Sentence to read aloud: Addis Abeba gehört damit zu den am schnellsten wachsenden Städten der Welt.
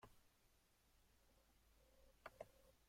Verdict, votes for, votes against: rejected, 0, 2